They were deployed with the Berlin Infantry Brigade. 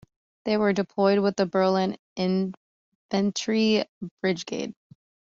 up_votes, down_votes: 0, 3